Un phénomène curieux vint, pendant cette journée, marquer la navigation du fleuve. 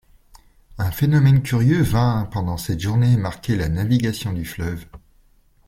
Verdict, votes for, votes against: accepted, 2, 0